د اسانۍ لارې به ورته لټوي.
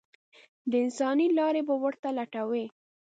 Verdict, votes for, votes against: rejected, 0, 2